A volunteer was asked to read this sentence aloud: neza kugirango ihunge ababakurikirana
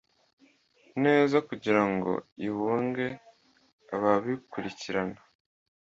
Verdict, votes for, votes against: rejected, 0, 2